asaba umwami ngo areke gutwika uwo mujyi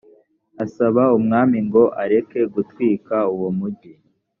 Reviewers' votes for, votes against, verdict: 2, 0, accepted